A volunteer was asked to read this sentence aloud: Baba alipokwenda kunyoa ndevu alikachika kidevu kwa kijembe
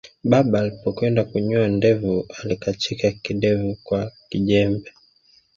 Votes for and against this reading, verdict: 2, 0, accepted